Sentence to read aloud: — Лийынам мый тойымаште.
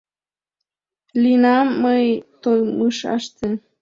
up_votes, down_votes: 1, 2